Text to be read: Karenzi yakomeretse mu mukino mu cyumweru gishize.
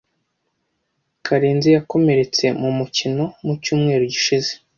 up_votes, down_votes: 2, 0